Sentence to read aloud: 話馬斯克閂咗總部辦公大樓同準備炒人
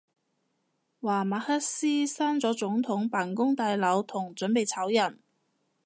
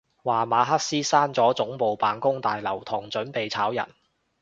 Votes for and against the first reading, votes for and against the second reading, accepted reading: 0, 2, 2, 0, second